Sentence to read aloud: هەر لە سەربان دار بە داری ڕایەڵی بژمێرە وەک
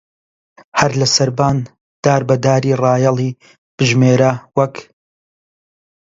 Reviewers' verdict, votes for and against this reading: accepted, 2, 0